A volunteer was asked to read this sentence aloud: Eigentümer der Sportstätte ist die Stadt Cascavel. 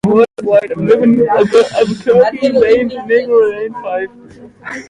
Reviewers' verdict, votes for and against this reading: rejected, 0, 2